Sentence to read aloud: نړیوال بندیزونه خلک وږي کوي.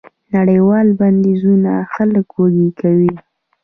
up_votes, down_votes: 2, 0